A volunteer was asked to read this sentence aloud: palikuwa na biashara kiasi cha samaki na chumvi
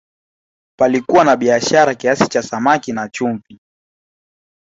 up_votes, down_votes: 0, 2